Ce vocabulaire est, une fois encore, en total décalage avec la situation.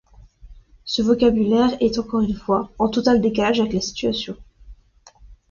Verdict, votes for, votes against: rejected, 0, 2